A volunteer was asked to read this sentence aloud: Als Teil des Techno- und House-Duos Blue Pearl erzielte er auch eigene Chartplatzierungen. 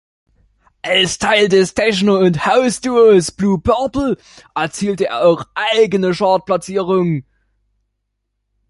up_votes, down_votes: 1, 2